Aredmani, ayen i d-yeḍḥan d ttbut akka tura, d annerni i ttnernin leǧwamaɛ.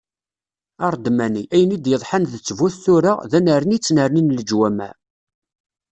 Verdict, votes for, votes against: rejected, 1, 2